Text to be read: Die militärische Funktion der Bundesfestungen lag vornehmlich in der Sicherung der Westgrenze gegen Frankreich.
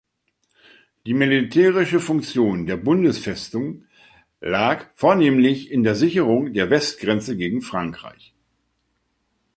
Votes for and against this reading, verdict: 0, 2, rejected